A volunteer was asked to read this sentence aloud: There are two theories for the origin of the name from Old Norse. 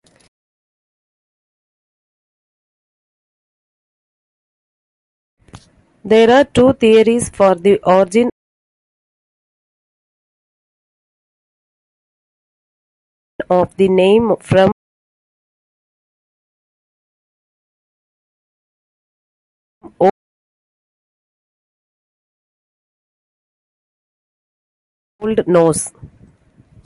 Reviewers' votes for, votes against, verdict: 0, 2, rejected